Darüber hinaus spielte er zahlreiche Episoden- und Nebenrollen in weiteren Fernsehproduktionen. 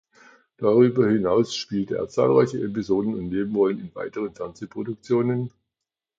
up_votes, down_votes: 2, 0